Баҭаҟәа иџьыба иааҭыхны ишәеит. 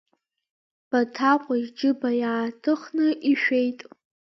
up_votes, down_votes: 2, 1